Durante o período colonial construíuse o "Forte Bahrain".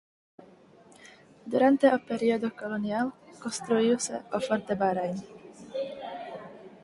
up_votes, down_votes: 4, 2